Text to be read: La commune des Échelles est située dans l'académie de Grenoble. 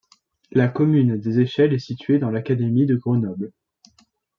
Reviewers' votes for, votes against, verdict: 2, 0, accepted